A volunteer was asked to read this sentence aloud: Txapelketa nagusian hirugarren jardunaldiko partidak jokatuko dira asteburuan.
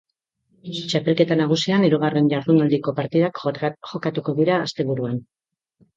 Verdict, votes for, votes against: rejected, 1, 2